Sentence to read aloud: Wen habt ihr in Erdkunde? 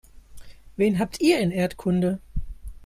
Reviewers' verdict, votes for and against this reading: accepted, 2, 0